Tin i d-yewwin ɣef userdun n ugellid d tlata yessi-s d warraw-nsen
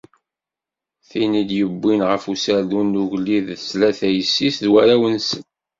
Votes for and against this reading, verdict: 2, 0, accepted